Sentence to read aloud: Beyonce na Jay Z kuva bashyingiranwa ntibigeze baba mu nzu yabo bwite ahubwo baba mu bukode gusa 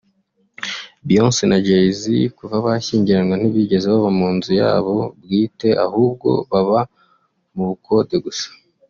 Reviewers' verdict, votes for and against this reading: accepted, 2, 1